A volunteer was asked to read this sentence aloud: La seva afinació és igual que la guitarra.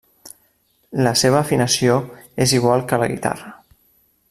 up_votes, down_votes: 3, 0